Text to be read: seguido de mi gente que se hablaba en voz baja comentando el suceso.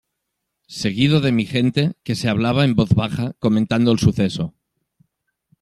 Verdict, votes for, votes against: accepted, 2, 0